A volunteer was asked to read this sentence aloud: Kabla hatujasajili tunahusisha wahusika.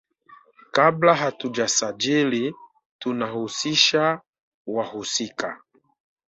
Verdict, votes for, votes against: accepted, 2, 0